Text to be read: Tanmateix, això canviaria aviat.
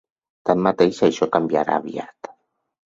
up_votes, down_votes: 2, 4